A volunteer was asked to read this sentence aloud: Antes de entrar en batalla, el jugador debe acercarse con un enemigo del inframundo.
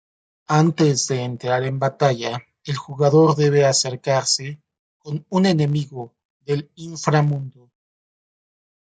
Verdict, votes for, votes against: rejected, 1, 2